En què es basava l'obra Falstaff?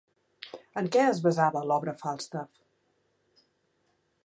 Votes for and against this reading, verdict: 3, 0, accepted